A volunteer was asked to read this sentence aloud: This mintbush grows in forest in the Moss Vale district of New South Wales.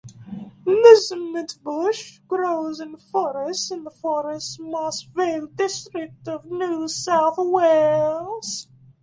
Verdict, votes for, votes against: rejected, 1, 2